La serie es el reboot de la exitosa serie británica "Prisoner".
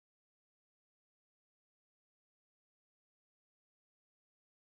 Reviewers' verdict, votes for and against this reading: rejected, 0, 2